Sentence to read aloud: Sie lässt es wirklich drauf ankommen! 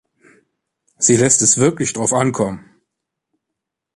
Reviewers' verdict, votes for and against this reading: accepted, 2, 0